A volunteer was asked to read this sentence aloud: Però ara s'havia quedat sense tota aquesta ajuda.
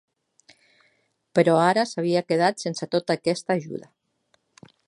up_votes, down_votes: 3, 0